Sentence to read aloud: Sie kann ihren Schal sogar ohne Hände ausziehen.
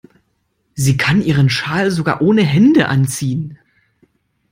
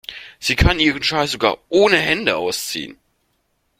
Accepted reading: second